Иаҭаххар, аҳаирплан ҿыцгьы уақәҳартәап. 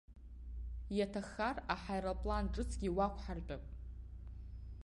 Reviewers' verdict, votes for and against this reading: accepted, 2, 0